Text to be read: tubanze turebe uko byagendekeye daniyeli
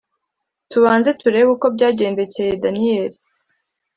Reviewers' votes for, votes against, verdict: 2, 0, accepted